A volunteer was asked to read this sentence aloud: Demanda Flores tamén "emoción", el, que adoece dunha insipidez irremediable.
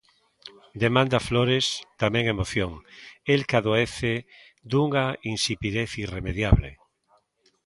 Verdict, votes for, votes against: accepted, 2, 0